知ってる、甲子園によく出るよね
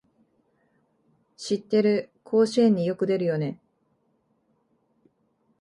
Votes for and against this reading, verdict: 2, 0, accepted